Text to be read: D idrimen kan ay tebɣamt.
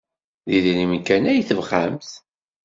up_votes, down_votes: 2, 0